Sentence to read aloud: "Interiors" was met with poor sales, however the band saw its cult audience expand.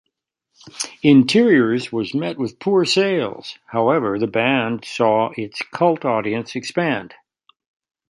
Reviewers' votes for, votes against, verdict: 2, 0, accepted